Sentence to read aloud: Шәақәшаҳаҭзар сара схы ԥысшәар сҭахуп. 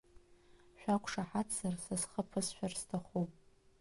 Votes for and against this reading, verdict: 1, 2, rejected